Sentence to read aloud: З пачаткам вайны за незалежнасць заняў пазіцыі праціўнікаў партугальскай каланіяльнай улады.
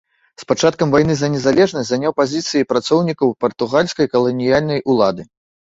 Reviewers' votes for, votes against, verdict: 1, 3, rejected